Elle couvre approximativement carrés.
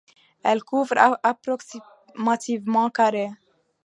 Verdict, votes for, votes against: accepted, 2, 1